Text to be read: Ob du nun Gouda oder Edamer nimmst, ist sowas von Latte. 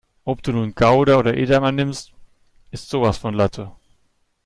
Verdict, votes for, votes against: accepted, 2, 0